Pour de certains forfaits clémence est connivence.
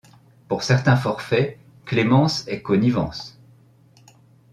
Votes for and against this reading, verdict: 0, 2, rejected